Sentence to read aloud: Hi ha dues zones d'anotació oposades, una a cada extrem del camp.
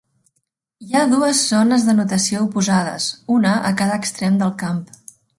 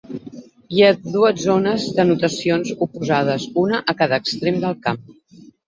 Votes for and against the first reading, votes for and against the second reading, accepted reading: 3, 0, 6, 9, first